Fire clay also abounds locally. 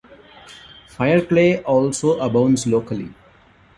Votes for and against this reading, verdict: 2, 0, accepted